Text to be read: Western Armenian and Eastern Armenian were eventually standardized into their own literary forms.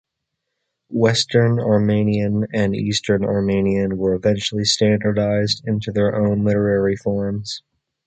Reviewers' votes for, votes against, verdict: 2, 0, accepted